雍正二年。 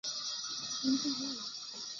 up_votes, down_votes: 0, 4